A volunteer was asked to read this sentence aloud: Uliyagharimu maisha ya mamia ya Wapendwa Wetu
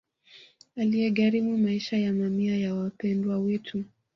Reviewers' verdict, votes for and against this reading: rejected, 1, 2